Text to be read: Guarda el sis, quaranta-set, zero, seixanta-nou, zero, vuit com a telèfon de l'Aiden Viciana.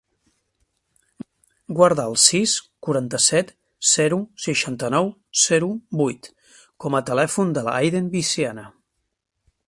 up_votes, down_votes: 1, 2